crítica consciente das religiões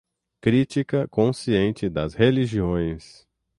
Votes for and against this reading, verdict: 6, 0, accepted